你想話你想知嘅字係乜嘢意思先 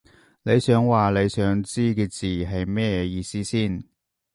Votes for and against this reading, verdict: 0, 3, rejected